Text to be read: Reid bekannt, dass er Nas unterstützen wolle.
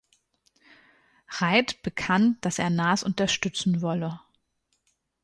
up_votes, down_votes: 2, 0